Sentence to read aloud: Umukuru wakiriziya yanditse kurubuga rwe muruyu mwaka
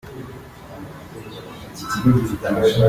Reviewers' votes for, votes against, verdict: 0, 2, rejected